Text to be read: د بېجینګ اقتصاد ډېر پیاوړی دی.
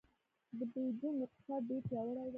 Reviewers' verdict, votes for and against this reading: rejected, 1, 2